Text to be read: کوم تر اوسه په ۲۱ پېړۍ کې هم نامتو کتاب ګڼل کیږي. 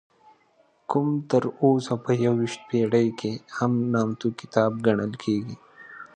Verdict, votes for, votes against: rejected, 0, 2